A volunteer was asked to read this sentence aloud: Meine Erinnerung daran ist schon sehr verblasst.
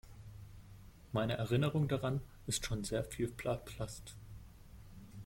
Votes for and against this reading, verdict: 0, 2, rejected